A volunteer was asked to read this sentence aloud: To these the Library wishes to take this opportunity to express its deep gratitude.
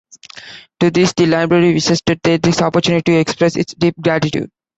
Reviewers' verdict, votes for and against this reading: accepted, 2, 0